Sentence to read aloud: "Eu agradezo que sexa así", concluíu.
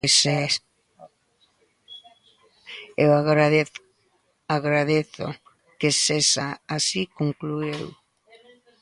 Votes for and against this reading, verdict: 0, 2, rejected